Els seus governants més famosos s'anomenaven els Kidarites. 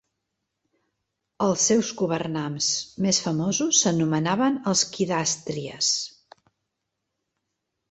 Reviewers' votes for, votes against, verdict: 1, 3, rejected